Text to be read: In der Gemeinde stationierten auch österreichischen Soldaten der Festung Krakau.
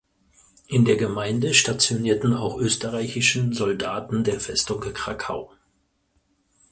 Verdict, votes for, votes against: rejected, 2, 4